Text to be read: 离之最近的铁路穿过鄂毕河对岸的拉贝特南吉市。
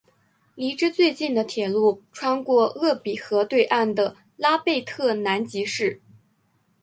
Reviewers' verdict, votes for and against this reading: accepted, 4, 1